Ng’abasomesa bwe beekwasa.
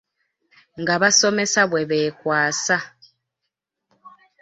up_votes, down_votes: 3, 1